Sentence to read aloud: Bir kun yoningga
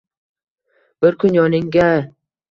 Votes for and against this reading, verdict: 2, 0, accepted